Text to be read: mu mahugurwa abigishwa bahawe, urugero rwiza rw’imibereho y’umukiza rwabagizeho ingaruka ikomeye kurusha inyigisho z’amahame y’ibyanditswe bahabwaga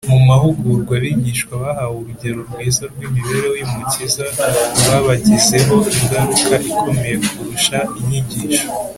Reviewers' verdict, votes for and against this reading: rejected, 0, 2